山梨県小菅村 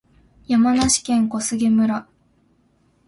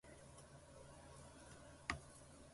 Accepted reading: first